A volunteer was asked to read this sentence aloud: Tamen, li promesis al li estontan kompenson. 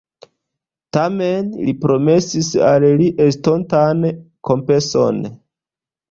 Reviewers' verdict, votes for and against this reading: accepted, 2, 0